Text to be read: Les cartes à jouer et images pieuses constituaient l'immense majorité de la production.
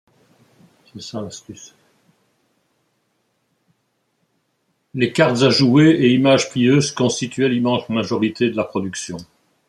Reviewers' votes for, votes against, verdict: 0, 2, rejected